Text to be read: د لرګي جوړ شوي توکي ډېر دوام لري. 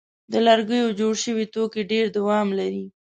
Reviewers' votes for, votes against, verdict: 2, 0, accepted